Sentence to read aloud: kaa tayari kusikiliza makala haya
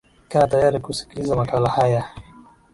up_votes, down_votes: 2, 1